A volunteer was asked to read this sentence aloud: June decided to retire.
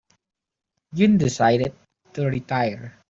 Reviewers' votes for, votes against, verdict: 2, 3, rejected